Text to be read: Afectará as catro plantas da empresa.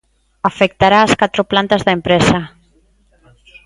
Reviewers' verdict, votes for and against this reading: accepted, 2, 0